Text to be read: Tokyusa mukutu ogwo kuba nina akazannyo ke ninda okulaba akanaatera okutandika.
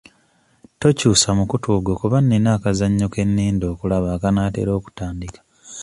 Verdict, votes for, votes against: accepted, 2, 0